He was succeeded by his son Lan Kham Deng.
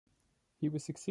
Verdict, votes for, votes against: rejected, 0, 2